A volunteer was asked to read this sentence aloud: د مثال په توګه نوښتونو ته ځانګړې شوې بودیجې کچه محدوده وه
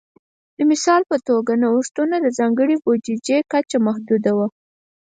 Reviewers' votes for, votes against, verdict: 4, 0, accepted